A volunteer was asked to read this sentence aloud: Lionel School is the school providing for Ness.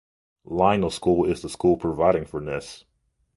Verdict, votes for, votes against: accepted, 2, 0